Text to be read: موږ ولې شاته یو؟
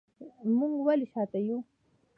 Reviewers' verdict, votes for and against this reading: accepted, 2, 0